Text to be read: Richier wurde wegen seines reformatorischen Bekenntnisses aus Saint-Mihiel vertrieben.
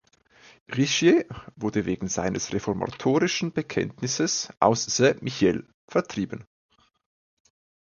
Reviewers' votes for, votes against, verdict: 1, 2, rejected